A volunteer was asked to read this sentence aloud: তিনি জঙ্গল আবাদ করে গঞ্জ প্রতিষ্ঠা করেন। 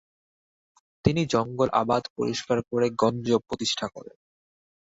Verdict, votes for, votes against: rejected, 0, 2